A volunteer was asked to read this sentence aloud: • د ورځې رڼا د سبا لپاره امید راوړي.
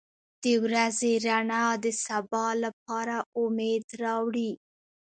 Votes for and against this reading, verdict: 1, 2, rejected